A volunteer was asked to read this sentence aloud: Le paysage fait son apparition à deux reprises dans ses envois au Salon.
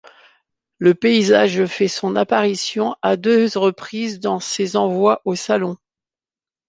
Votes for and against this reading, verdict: 1, 2, rejected